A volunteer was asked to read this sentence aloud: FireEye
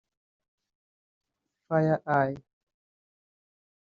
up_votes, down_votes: 0, 2